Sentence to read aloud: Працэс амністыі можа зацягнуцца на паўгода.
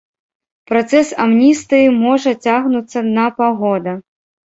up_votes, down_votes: 0, 2